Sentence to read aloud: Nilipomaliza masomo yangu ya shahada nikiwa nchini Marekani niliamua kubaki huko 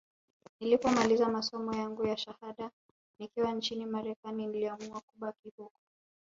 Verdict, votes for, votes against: accepted, 3, 1